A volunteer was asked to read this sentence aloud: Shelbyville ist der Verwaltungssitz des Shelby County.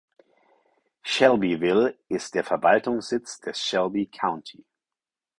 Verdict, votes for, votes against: accepted, 4, 0